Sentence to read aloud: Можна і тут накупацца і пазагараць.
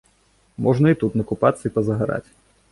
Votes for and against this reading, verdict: 2, 0, accepted